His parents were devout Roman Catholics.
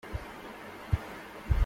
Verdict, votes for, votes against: rejected, 0, 2